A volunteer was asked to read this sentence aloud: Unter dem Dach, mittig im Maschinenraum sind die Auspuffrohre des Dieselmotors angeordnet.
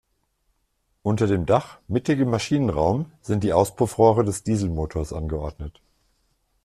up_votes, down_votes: 2, 0